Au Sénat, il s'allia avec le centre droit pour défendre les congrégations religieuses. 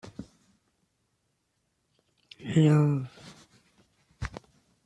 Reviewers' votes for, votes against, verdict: 0, 2, rejected